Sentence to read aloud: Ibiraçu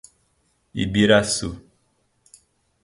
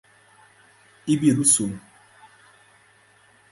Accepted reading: first